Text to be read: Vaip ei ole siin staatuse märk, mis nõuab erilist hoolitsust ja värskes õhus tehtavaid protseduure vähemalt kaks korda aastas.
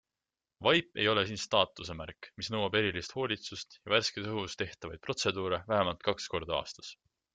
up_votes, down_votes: 2, 0